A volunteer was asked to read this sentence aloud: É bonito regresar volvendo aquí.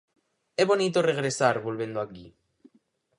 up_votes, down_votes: 2, 2